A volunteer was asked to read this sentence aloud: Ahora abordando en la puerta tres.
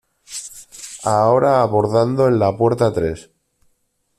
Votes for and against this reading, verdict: 2, 0, accepted